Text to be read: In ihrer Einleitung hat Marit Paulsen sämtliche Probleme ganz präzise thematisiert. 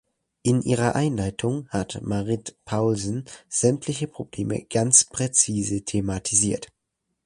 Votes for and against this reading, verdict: 2, 0, accepted